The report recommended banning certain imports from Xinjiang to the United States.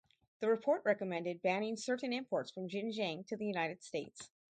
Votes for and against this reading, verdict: 2, 2, rejected